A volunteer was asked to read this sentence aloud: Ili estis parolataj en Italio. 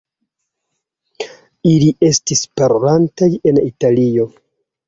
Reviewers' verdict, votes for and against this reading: rejected, 1, 2